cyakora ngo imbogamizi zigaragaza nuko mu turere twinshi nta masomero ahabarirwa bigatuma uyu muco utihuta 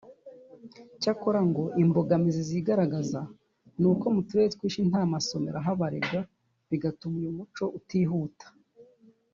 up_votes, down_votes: 2, 0